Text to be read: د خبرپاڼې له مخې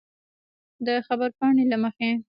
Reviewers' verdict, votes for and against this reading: rejected, 1, 2